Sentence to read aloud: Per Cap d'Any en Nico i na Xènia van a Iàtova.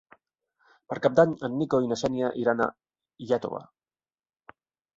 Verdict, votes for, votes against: rejected, 2, 3